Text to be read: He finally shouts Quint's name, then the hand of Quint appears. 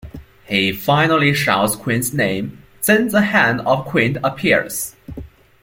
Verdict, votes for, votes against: accepted, 2, 1